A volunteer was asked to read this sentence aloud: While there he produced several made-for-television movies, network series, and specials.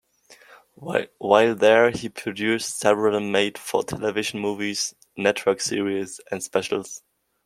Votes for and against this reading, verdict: 2, 1, accepted